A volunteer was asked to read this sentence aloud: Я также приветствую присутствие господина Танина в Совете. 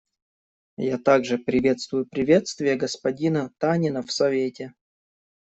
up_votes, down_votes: 1, 2